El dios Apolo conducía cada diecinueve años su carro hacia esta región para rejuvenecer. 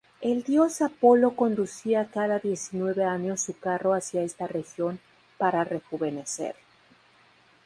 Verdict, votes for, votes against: accepted, 4, 2